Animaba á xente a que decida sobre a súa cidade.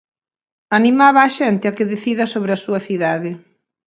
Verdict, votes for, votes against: accepted, 4, 0